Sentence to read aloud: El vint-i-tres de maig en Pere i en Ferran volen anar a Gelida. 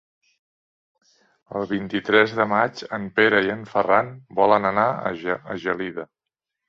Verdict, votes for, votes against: rejected, 1, 2